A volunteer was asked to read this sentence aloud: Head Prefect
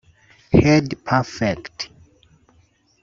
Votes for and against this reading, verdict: 1, 2, rejected